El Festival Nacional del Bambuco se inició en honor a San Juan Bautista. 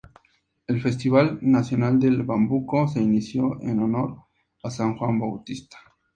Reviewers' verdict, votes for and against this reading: accepted, 2, 0